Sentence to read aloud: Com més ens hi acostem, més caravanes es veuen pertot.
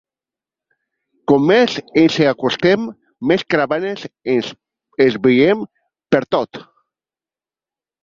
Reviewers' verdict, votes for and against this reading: rejected, 0, 2